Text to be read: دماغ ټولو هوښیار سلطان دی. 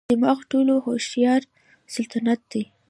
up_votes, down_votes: 2, 0